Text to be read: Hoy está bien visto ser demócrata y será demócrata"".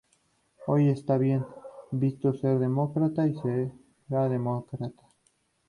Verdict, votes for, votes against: accepted, 2, 0